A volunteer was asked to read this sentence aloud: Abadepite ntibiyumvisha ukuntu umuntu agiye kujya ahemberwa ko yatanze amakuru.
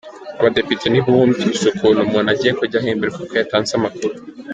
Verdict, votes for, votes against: rejected, 1, 2